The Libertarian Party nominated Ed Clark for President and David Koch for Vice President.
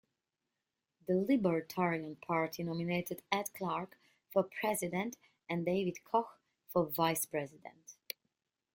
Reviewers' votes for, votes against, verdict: 0, 2, rejected